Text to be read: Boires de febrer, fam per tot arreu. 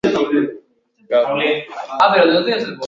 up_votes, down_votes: 0, 2